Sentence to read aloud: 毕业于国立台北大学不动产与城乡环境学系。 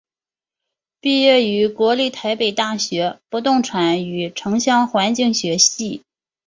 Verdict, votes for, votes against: accepted, 2, 0